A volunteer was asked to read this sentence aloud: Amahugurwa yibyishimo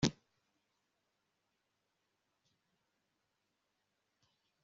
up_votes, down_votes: 0, 2